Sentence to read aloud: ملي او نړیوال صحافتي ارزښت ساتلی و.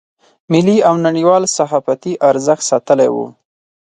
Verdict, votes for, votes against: accepted, 4, 0